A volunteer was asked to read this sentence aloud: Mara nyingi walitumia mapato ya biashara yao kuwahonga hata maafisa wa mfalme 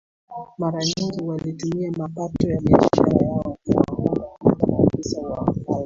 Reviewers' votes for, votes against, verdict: 0, 2, rejected